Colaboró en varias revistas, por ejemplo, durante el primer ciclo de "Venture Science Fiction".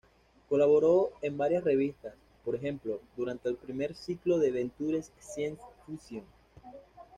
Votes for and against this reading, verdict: 2, 0, accepted